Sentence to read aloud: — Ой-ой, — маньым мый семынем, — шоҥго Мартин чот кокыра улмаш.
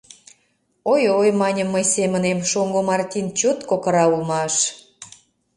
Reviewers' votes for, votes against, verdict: 2, 0, accepted